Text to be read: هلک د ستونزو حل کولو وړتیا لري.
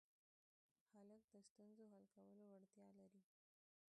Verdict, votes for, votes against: rejected, 0, 2